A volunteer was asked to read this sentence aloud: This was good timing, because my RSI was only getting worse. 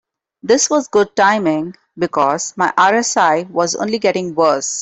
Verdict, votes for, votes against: accepted, 3, 0